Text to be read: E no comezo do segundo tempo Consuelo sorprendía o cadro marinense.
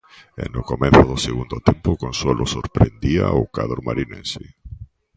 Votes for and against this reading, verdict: 2, 0, accepted